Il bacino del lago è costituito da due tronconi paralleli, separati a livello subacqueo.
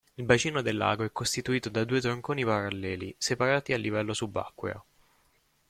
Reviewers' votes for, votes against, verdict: 0, 2, rejected